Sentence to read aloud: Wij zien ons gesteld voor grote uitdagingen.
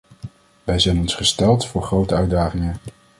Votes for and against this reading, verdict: 0, 2, rejected